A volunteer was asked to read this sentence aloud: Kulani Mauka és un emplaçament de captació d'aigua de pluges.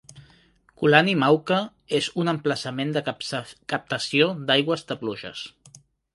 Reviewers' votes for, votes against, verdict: 1, 2, rejected